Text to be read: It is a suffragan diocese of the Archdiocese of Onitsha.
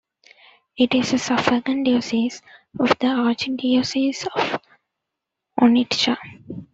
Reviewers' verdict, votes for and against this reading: rejected, 0, 2